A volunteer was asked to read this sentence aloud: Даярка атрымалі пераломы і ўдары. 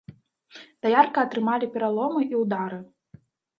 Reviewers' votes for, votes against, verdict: 2, 0, accepted